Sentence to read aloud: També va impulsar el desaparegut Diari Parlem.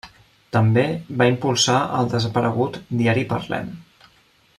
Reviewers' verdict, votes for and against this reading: accepted, 2, 0